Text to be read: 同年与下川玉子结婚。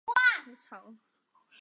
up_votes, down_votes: 0, 4